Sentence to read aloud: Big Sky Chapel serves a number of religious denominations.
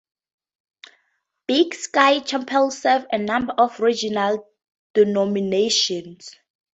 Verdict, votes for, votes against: rejected, 0, 4